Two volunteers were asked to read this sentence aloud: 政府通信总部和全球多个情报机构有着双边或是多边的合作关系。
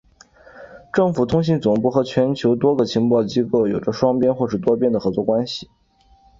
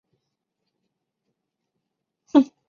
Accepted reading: first